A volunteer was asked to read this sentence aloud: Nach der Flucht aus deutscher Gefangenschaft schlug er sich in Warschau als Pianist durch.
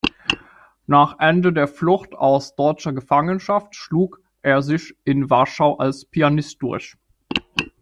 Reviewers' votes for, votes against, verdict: 0, 2, rejected